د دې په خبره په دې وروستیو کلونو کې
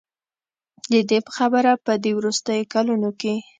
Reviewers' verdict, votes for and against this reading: accepted, 2, 0